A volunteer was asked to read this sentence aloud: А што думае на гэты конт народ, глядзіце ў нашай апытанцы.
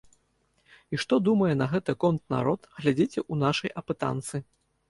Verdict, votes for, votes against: rejected, 1, 2